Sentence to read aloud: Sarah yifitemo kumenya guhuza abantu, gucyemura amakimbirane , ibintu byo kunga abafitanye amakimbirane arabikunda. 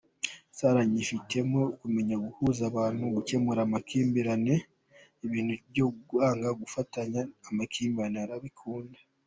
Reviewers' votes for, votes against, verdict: 1, 2, rejected